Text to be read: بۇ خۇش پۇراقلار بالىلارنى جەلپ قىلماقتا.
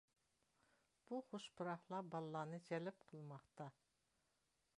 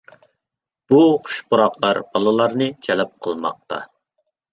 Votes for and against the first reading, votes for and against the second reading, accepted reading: 1, 2, 2, 0, second